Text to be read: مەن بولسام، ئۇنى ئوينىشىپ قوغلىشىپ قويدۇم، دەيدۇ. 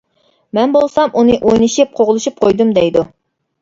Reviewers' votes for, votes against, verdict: 2, 0, accepted